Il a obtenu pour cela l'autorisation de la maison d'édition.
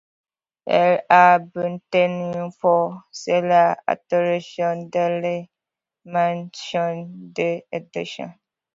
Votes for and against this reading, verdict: 0, 2, rejected